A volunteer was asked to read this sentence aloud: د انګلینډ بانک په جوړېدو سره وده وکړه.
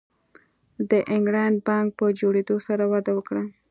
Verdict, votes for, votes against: accepted, 2, 1